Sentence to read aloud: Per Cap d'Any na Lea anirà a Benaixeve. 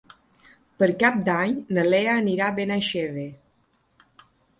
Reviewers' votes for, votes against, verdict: 3, 0, accepted